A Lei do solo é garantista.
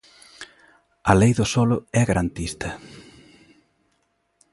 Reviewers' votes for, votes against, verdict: 2, 0, accepted